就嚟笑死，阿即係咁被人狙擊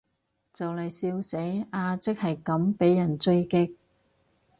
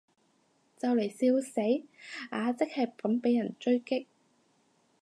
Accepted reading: second